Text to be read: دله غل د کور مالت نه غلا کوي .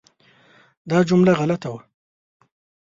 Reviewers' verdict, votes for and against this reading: rejected, 0, 2